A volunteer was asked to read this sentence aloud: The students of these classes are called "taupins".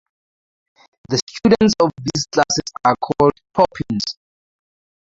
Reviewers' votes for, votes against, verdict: 2, 0, accepted